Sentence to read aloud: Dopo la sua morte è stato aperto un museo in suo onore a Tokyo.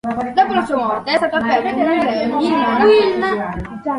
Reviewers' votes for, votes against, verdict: 0, 2, rejected